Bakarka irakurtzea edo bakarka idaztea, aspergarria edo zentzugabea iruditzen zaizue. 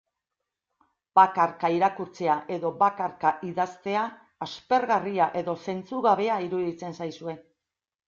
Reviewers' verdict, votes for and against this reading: accepted, 3, 0